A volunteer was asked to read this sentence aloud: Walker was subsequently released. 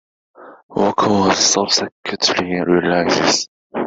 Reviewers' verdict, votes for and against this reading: rejected, 1, 2